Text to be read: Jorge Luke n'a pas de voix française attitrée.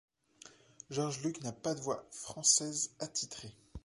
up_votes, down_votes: 2, 0